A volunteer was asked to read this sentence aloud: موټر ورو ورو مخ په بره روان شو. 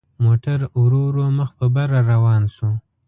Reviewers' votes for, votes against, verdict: 3, 0, accepted